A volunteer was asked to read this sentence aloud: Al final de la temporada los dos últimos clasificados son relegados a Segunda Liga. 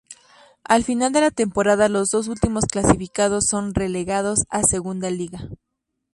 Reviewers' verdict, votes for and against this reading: rejected, 0, 2